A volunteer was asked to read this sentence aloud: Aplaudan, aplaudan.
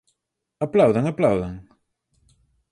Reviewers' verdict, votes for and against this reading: accepted, 4, 0